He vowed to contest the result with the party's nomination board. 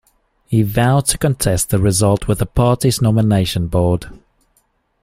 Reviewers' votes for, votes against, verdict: 2, 0, accepted